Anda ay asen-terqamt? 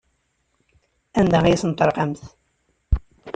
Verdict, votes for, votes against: rejected, 1, 3